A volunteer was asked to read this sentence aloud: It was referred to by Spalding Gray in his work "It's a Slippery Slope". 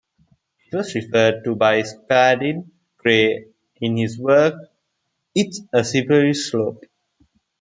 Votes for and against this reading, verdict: 2, 0, accepted